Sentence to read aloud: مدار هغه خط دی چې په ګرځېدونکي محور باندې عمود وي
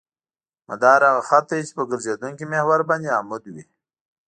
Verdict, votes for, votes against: accepted, 2, 0